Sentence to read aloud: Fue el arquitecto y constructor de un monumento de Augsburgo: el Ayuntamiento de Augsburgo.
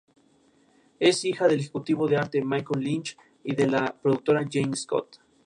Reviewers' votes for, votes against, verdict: 0, 2, rejected